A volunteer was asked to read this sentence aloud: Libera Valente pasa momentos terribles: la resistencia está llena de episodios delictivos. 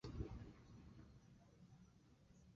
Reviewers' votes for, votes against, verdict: 0, 2, rejected